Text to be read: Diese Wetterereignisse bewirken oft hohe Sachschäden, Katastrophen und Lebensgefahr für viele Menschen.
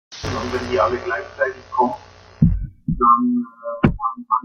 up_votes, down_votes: 0, 2